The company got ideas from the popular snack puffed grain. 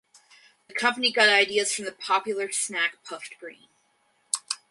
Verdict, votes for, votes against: accepted, 2, 0